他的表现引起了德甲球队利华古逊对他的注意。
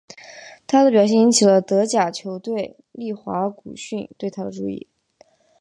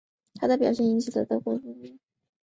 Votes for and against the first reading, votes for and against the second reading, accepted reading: 2, 0, 1, 2, first